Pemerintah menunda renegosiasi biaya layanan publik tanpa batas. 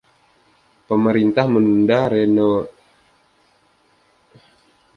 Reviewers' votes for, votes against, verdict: 0, 2, rejected